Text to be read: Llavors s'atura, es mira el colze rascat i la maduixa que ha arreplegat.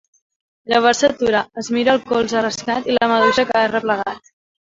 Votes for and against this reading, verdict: 0, 2, rejected